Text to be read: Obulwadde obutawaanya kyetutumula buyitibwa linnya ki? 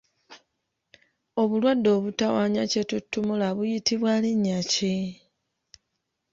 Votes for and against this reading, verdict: 2, 0, accepted